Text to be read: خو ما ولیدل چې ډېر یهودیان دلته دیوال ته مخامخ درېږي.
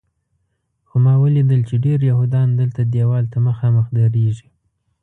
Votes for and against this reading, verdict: 2, 0, accepted